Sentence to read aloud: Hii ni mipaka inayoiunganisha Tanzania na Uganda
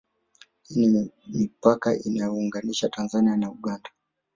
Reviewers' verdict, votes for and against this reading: rejected, 1, 2